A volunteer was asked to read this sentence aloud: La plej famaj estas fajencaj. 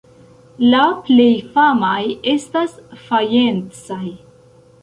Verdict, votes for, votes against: rejected, 0, 2